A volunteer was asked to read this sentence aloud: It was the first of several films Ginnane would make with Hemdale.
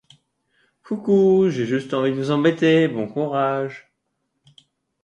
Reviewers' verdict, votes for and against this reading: rejected, 0, 2